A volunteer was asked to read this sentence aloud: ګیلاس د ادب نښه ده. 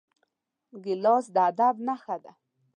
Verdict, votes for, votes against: accepted, 2, 0